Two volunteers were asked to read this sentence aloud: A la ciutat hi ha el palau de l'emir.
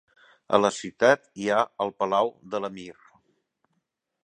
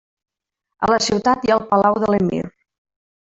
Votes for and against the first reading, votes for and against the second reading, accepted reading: 4, 0, 0, 2, first